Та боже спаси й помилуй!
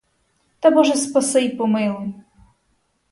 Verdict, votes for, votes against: accepted, 4, 0